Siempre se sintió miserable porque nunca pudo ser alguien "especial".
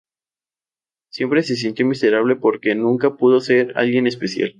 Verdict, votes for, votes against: accepted, 4, 0